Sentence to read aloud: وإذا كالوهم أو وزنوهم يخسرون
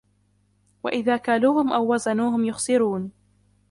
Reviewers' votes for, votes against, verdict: 1, 2, rejected